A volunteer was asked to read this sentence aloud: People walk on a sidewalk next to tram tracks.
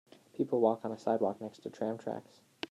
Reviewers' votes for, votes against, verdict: 2, 0, accepted